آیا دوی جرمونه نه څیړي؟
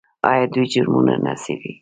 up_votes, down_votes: 1, 2